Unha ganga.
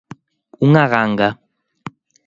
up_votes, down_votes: 2, 0